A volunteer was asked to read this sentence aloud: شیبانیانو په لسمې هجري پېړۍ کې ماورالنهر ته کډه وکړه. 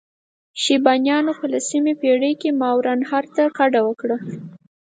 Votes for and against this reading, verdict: 2, 4, rejected